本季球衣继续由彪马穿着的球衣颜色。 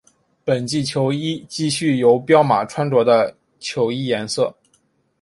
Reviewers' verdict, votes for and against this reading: accepted, 6, 0